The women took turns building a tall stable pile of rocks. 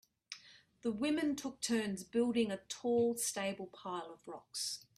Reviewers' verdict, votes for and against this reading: accepted, 2, 0